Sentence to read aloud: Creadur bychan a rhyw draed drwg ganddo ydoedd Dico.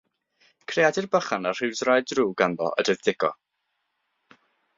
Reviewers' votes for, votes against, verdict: 6, 0, accepted